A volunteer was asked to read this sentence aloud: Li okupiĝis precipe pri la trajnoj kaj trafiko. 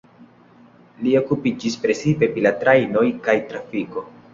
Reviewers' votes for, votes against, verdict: 2, 0, accepted